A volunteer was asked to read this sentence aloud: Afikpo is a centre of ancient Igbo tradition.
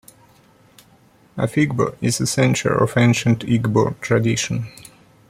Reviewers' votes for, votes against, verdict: 2, 0, accepted